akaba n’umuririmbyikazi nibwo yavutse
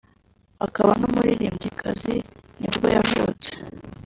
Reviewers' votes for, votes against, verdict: 1, 2, rejected